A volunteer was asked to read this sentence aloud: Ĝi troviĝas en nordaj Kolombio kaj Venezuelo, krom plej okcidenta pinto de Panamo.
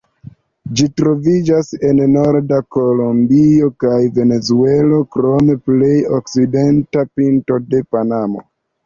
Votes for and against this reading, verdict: 1, 2, rejected